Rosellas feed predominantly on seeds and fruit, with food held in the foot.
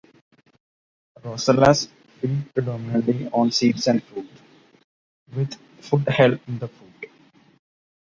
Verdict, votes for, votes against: rejected, 1, 2